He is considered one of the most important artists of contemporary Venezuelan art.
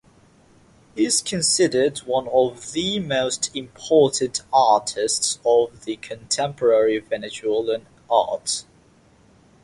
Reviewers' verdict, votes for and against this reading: accepted, 9, 6